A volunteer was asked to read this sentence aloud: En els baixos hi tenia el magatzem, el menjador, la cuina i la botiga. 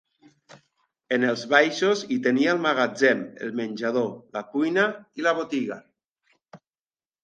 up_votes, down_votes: 2, 0